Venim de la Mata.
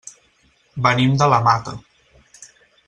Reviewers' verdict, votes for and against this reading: accepted, 6, 0